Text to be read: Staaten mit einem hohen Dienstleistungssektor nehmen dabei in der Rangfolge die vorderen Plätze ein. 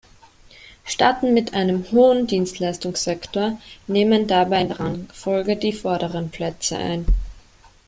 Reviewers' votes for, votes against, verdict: 1, 3, rejected